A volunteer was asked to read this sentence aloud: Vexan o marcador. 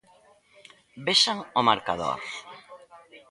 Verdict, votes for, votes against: accepted, 2, 0